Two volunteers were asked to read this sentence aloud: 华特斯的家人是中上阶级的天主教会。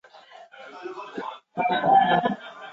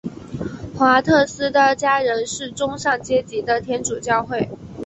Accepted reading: second